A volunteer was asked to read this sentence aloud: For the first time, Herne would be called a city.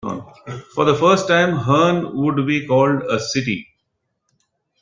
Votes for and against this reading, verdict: 0, 2, rejected